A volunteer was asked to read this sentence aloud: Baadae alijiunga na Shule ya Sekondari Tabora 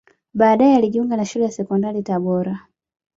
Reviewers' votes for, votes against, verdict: 2, 0, accepted